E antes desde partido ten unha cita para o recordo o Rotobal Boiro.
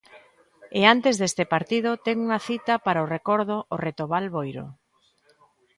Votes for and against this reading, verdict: 1, 2, rejected